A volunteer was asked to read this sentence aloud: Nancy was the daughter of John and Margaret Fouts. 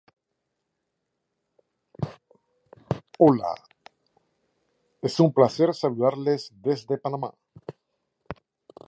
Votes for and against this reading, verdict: 0, 2, rejected